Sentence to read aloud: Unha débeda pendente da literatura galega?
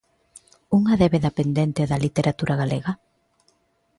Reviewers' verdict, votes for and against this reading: accepted, 2, 0